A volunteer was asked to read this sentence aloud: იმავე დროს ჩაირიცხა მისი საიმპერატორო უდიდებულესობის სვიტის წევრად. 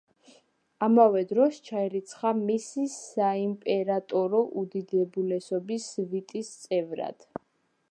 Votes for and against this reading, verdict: 1, 2, rejected